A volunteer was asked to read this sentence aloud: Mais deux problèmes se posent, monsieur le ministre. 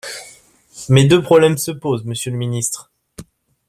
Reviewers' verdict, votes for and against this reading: accepted, 2, 0